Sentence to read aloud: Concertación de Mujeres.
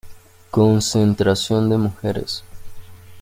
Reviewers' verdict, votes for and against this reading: rejected, 0, 2